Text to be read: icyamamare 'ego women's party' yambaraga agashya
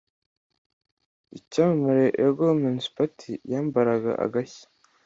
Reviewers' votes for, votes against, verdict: 2, 0, accepted